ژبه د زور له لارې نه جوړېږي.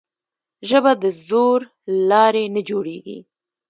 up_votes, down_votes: 0, 2